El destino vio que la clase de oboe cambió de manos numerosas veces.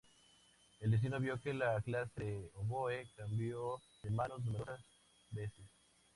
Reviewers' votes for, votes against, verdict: 2, 0, accepted